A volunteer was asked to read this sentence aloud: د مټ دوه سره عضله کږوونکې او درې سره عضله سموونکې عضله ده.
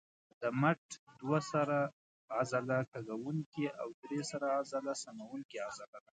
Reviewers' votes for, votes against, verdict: 1, 2, rejected